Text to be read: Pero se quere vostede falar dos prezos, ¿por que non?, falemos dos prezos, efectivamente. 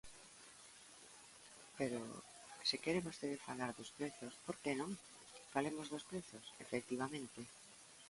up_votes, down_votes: 1, 2